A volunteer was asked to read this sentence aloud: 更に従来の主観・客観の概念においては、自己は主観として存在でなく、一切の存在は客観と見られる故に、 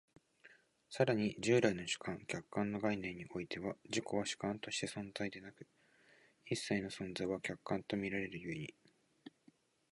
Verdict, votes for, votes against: accepted, 9, 6